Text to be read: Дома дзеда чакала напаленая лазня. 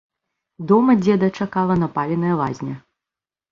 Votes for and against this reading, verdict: 2, 0, accepted